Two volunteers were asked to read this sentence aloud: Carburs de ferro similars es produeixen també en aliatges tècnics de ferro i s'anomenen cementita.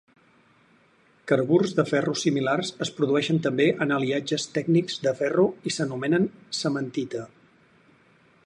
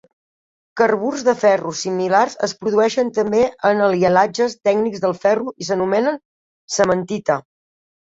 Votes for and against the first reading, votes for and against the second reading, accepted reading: 6, 0, 0, 2, first